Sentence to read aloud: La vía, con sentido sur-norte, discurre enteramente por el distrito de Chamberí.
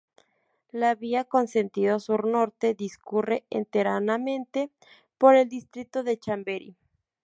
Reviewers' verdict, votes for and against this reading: rejected, 2, 4